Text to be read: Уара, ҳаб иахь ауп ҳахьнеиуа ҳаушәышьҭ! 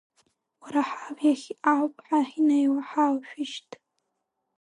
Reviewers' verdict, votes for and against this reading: rejected, 2, 6